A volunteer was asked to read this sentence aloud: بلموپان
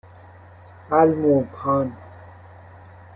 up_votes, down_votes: 1, 2